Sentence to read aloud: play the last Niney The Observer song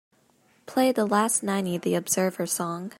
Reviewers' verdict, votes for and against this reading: accepted, 2, 0